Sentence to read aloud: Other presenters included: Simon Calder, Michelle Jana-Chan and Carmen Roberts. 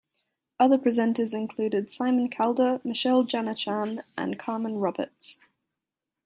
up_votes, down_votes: 2, 0